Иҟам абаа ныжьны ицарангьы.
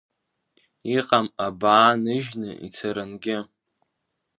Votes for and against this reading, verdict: 2, 0, accepted